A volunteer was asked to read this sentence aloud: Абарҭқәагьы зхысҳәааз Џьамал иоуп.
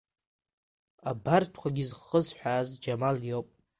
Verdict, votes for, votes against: accepted, 2, 1